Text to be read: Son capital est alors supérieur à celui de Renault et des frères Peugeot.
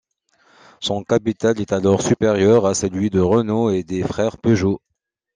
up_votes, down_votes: 2, 0